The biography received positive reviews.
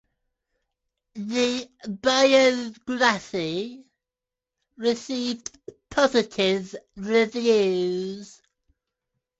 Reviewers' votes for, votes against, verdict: 1, 2, rejected